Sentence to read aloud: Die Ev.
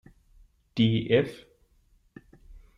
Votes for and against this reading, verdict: 1, 2, rejected